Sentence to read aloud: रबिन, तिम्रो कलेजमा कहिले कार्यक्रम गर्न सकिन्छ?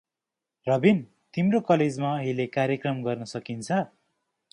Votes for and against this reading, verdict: 2, 0, accepted